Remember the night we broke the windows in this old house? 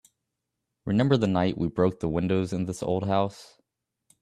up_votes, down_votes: 2, 1